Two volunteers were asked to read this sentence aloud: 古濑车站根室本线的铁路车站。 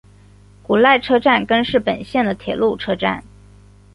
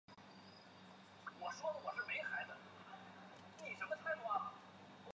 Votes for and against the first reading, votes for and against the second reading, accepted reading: 2, 0, 3, 5, first